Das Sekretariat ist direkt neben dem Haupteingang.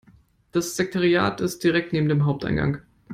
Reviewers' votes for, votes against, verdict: 0, 2, rejected